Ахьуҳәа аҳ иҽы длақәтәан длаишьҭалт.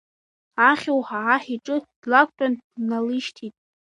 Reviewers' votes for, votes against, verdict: 0, 2, rejected